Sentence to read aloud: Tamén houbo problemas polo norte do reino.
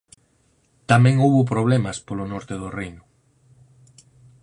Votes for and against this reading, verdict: 4, 0, accepted